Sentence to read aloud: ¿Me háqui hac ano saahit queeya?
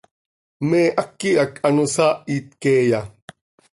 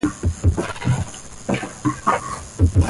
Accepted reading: first